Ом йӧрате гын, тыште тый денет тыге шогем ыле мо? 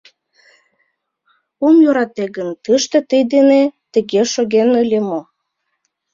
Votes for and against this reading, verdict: 0, 2, rejected